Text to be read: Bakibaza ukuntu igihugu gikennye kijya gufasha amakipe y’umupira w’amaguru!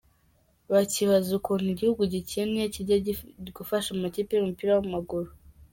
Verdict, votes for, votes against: accepted, 2, 1